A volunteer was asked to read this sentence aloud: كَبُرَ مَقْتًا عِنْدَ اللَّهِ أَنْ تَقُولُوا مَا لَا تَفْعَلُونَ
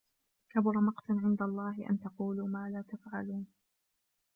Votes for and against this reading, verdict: 3, 0, accepted